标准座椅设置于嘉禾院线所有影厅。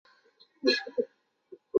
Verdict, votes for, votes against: rejected, 1, 3